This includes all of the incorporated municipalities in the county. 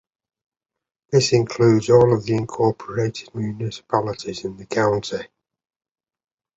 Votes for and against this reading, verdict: 2, 0, accepted